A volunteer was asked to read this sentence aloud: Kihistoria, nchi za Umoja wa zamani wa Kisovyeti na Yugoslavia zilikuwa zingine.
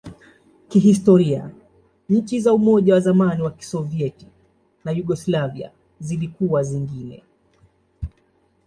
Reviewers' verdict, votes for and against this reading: accepted, 2, 0